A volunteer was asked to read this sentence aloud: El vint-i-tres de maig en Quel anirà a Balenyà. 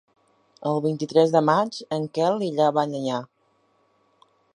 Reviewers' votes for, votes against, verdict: 0, 2, rejected